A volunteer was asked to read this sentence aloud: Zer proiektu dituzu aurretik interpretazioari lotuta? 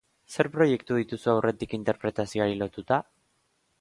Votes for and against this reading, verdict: 2, 0, accepted